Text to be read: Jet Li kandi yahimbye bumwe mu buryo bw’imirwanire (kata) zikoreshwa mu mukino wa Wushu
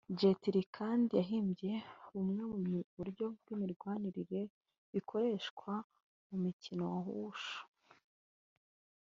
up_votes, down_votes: 1, 2